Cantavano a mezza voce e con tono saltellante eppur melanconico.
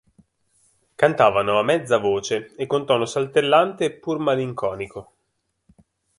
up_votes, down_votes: 0, 2